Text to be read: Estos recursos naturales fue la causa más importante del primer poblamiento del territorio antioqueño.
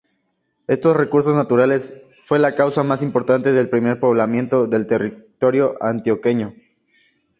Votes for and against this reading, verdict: 2, 0, accepted